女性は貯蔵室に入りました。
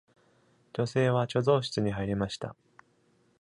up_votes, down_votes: 2, 0